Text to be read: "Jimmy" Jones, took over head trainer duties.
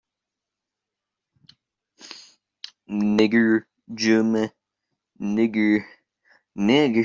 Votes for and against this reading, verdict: 0, 2, rejected